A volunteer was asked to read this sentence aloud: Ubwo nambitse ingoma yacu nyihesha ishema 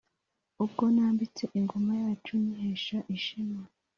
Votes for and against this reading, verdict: 2, 0, accepted